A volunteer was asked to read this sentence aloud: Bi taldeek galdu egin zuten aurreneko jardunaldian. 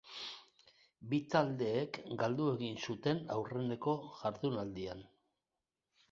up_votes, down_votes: 2, 0